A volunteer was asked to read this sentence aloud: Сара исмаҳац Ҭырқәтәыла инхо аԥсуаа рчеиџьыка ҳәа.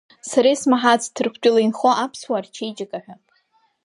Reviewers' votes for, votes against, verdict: 2, 1, accepted